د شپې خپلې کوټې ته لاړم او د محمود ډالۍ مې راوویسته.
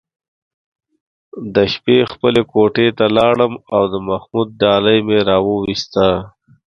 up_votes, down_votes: 2, 0